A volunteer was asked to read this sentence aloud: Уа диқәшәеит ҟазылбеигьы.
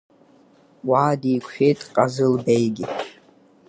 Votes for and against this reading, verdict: 6, 3, accepted